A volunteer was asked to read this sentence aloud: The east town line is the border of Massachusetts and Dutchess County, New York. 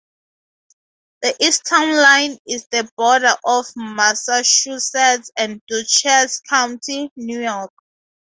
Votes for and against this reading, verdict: 4, 2, accepted